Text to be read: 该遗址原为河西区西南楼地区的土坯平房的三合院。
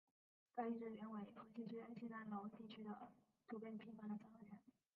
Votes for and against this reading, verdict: 0, 4, rejected